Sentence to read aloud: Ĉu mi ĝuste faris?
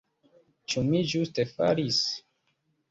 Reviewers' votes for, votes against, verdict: 2, 0, accepted